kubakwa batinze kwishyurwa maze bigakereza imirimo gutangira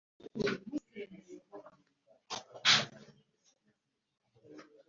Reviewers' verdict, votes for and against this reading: rejected, 0, 2